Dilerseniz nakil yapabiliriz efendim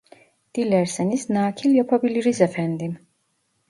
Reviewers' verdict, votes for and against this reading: rejected, 1, 2